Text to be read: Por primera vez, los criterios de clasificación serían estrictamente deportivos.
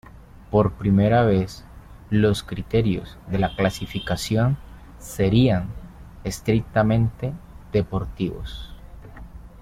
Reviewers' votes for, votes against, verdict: 0, 3, rejected